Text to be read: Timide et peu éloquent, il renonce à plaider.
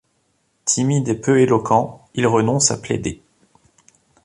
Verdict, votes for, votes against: accepted, 2, 0